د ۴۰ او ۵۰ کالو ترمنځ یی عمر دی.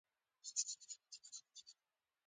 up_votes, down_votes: 0, 2